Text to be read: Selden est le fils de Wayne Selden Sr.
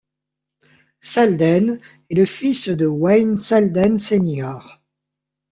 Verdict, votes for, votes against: accepted, 2, 0